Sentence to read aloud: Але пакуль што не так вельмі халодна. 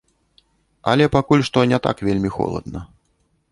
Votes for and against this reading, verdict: 1, 2, rejected